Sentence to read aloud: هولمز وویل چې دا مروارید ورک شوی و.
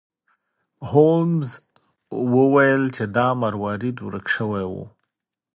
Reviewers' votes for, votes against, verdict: 2, 0, accepted